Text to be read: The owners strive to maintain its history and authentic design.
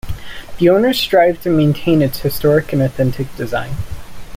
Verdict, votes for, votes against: rejected, 0, 2